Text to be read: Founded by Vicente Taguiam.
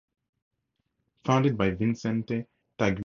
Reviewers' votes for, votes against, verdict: 2, 4, rejected